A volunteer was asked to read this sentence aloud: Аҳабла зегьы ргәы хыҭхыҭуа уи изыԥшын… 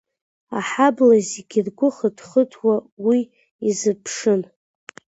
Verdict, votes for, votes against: accepted, 2, 0